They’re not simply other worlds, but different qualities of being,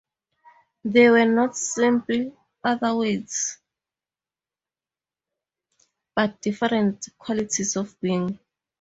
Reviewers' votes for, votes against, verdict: 0, 2, rejected